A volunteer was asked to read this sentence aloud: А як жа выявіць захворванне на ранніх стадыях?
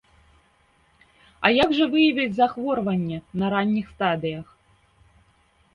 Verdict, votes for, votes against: accepted, 2, 0